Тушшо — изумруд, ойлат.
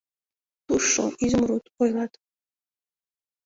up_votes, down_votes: 2, 0